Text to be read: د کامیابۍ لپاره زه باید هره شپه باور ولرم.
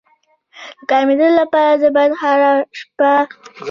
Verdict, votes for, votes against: rejected, 1, 2